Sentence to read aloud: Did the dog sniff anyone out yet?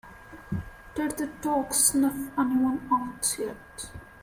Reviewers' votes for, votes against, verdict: 1, 2, rejected